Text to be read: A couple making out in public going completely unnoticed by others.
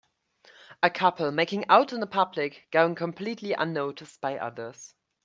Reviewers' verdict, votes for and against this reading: accepted, 2, 0